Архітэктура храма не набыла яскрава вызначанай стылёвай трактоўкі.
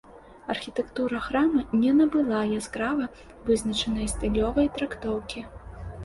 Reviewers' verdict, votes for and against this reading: accepted, 2, 0